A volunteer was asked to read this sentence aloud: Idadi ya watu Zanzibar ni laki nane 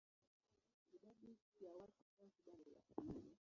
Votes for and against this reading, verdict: 0, 2, rejected